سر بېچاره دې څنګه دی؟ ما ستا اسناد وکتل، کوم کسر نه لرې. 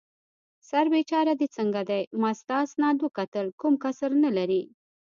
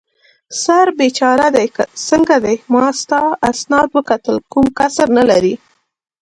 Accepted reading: second